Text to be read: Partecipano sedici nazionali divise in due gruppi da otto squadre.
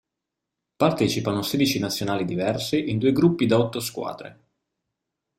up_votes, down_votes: 0, 2